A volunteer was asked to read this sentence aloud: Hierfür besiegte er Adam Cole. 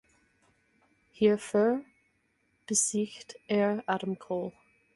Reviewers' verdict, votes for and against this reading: rejected, 0, 4